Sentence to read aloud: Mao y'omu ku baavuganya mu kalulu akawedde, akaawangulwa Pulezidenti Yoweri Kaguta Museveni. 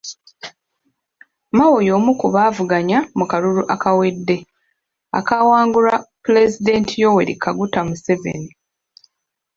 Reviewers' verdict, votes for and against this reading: accepted, 2, 0